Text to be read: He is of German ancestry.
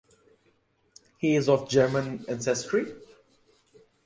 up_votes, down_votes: 2, 0